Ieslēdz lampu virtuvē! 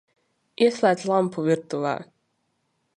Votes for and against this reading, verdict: 2, 0, accepted